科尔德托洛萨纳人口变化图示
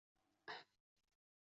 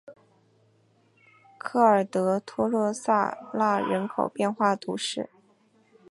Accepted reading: second